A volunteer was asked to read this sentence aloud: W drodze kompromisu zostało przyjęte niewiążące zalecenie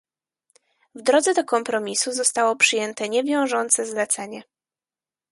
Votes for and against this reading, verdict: 2, 4, rejected